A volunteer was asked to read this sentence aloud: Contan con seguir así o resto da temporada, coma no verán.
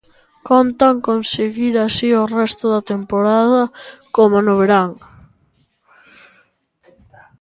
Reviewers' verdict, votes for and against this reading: accepted, 2, 0